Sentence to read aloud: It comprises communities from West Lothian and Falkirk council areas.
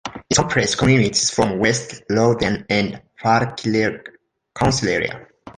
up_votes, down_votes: 0, 2